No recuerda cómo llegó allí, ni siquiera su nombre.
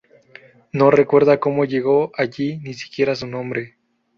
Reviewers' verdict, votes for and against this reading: accepted, 2, 0